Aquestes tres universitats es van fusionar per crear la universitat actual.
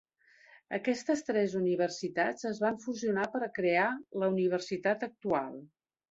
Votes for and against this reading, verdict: 1, 2, rejected